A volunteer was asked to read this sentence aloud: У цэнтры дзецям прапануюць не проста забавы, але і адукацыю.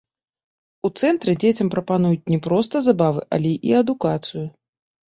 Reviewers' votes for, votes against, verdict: 2, 0, accepted